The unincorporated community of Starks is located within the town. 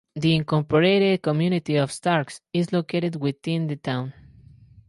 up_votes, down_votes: 2, 2